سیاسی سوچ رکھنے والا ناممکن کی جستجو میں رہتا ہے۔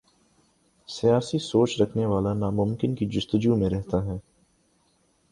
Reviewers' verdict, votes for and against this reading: accepted, 3, 0